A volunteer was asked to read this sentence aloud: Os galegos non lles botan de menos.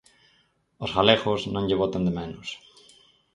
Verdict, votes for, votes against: rejected, 0, 4